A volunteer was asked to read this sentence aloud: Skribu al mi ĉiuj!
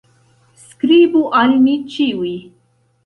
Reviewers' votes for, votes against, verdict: 2, 0, accepted